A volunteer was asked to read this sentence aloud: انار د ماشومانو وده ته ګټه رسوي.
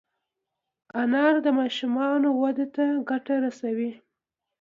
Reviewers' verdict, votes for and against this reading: accepted, 2, 0